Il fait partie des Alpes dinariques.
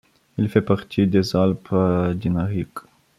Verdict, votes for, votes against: accepted, 2, 0